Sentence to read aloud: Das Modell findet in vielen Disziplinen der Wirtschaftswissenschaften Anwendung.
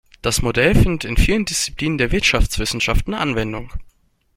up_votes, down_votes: 2, 0